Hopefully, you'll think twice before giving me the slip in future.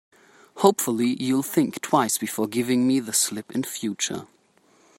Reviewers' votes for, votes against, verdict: 2, 0, accepted